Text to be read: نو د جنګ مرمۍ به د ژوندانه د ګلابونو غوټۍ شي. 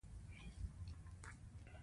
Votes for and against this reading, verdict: 1, 2, rejected